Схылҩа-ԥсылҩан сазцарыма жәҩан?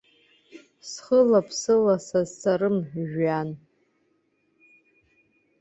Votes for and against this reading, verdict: 2, 1, accepted